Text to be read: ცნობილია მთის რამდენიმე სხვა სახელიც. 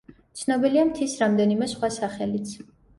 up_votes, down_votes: 2, 0